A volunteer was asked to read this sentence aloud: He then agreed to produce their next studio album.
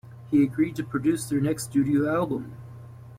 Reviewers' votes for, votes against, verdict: 0, 2, rejected